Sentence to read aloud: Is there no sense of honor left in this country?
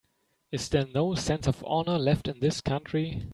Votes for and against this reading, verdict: 2, 0, accepted